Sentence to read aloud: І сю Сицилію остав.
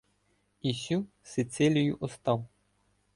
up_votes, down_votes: 2, 0